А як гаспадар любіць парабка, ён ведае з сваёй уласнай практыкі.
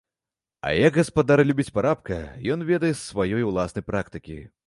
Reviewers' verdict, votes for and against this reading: rejected, 1, 2